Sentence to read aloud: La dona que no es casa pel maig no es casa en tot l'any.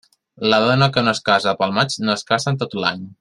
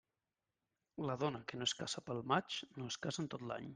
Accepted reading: second